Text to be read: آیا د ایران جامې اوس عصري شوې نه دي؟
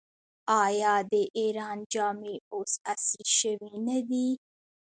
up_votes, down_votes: 2, 1